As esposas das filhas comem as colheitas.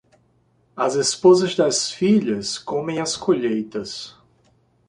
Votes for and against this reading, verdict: 2, 0, accepted